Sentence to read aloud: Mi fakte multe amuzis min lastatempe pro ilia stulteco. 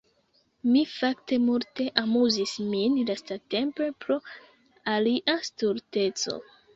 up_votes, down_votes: 1, 2